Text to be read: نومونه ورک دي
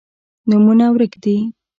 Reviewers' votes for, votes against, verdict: 1, 2, rejected